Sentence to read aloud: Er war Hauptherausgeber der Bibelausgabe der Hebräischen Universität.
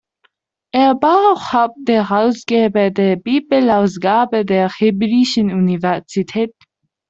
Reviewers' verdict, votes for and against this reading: rejected, 0, 2